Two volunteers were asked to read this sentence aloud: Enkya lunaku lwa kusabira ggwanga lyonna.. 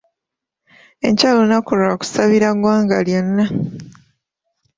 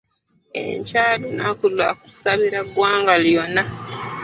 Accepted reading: first